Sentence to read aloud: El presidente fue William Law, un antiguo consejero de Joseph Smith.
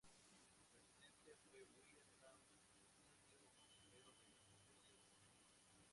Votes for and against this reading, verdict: 0, 4, rejected